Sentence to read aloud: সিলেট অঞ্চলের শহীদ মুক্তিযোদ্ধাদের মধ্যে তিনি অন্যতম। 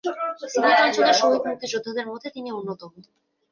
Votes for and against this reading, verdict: 2, 1, accepted